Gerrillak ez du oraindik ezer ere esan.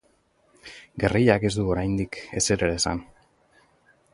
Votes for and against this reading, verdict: 6, 0, accepted